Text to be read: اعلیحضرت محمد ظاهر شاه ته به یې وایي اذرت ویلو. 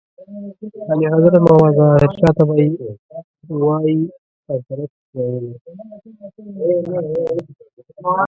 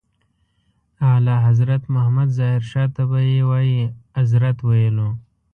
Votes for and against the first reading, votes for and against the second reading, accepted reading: 0, 2, 2, 0, second